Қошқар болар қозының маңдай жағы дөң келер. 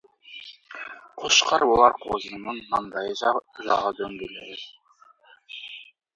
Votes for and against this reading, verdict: 0, 2, rejected